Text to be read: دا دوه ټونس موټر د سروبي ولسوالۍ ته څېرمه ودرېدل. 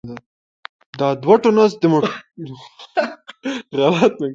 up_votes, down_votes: 0, 2